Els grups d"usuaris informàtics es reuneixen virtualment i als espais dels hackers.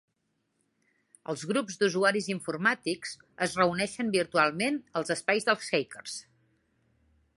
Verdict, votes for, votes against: rejected, 0, 2